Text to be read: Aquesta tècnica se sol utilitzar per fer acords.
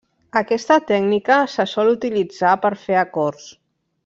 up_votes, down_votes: 1, 2